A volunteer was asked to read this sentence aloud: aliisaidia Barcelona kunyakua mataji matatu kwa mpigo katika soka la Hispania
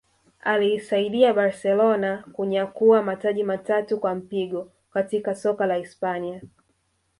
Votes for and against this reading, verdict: 1, 2, rejected